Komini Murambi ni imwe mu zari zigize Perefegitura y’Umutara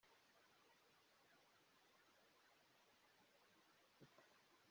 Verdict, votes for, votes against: rejected, 0, 2